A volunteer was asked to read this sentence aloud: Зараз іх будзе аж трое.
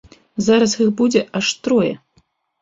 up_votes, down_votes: 2, 0